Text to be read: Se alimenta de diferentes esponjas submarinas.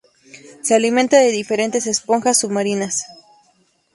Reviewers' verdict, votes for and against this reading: accepted, 2, 0